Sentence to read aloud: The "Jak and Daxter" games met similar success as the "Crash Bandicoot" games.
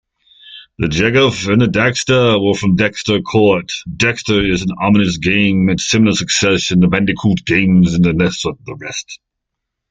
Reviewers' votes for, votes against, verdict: 0, 2, rejected